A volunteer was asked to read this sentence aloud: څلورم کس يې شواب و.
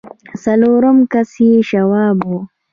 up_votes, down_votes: 2, 0